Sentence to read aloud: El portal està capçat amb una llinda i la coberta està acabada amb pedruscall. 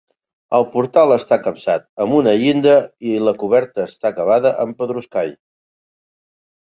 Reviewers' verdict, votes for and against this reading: accepted, 2, 0